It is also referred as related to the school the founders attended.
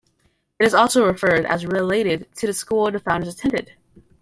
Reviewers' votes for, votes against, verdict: 2, 1, accepted